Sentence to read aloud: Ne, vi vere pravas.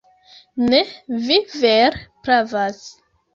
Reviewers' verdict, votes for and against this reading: rejected, 0, 3